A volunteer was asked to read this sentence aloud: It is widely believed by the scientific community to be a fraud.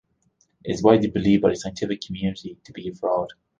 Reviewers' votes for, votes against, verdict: 0, 2, rejected